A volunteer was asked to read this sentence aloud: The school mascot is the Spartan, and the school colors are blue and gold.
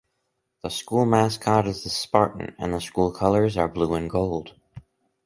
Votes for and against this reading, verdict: 0, 2, rejected